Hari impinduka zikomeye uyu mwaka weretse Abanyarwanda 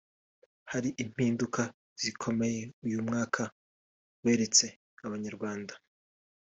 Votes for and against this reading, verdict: 2, 0, accepted